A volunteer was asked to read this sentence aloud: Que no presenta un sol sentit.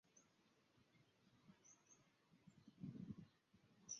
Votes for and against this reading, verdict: 0, 2, rejected